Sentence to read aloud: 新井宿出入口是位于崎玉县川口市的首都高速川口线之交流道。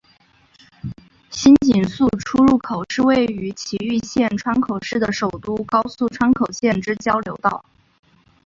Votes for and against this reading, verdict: 2, 0, accepted